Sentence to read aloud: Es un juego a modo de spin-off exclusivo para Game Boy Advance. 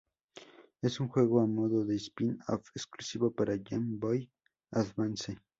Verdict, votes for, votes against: accepted, 2, 0